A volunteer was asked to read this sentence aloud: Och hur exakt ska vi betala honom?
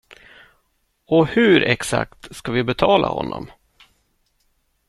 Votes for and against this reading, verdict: 2, 0, accepted